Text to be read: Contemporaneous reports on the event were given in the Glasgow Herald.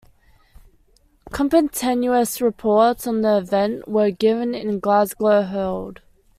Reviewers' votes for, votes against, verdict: 0, 2, rejected